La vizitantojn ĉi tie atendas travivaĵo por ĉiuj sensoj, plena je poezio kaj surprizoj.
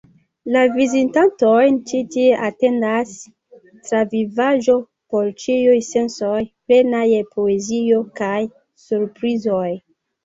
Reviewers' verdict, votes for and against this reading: accepted, 2, 1